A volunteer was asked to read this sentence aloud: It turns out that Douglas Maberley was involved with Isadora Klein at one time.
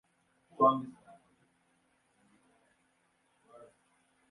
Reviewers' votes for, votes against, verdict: 0, 2, rejected